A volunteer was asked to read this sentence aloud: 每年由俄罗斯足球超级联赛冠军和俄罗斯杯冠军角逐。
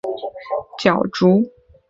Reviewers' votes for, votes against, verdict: 2, 1, accepted